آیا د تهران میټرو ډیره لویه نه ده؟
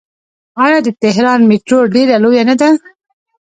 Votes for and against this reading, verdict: 0, 2, rejected